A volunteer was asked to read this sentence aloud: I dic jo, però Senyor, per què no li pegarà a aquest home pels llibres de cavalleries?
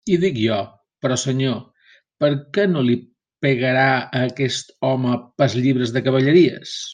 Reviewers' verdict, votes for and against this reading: rejected, 0, 2